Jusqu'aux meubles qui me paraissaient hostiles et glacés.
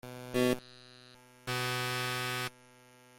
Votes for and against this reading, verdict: 0, 2, rejected